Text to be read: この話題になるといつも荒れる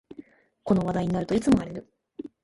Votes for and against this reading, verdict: 2, 0, accepted